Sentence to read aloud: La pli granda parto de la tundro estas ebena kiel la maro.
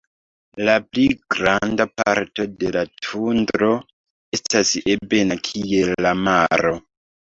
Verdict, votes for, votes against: rejected, 0, 2